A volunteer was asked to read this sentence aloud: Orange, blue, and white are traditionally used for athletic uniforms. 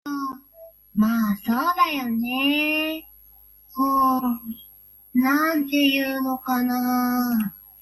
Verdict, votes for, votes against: rejected, 0, 2